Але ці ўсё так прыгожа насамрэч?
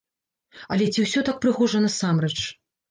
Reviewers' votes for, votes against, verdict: 2, 0, accepted